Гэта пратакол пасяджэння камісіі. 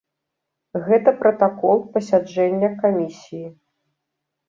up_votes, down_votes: 3, 0